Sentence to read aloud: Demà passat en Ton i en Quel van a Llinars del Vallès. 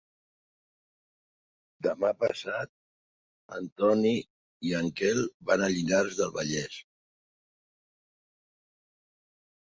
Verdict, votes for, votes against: rejected, 1, 2